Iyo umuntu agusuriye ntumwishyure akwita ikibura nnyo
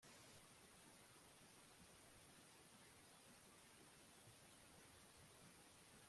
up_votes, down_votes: 0, 2